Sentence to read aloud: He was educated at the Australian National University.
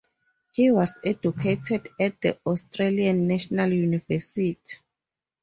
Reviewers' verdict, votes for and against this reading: rejected, 2, 2